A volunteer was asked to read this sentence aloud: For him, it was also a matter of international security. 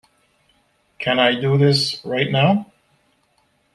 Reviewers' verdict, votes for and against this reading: rejected, 0, 2